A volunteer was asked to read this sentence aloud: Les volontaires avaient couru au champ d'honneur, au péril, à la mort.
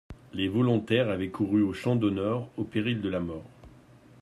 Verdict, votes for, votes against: rejected, 0, 2